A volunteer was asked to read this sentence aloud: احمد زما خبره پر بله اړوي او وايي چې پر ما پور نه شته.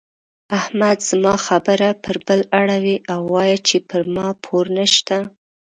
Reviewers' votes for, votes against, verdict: 2, 0, accepted